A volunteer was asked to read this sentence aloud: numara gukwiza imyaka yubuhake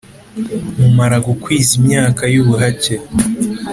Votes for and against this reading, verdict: 2, 0, accepted